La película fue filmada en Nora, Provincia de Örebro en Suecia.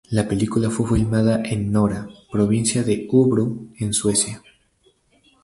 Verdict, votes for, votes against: rejected, 4, 4